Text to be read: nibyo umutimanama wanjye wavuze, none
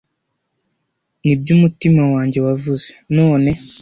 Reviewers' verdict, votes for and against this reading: rejected, 0, 2